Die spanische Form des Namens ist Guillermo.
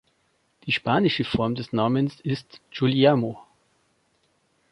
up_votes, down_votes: 1, 2